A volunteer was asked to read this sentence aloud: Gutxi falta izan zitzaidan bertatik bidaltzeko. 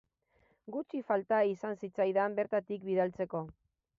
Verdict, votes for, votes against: accepted, 2, 0